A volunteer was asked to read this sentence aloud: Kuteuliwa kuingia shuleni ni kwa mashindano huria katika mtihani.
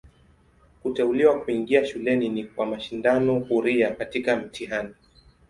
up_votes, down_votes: 2, 0